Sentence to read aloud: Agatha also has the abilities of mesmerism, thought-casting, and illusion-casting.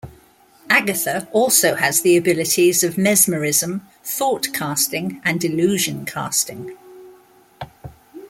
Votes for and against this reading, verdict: 2, 1, accepted